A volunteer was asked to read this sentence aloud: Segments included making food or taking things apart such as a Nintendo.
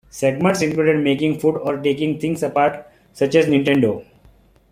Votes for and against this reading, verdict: 0, 2, rejected